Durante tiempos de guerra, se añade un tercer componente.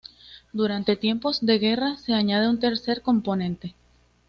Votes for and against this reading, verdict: 2, 0, accepted